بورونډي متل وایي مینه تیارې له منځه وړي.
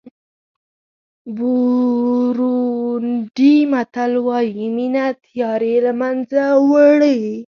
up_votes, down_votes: 6, 0